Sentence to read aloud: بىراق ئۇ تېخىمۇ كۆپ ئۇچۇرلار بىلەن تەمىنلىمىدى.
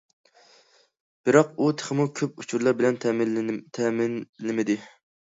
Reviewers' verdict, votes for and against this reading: accepted, 2, 0